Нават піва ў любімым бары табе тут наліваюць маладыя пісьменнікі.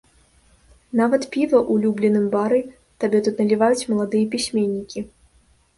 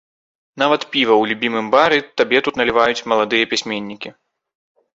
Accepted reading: second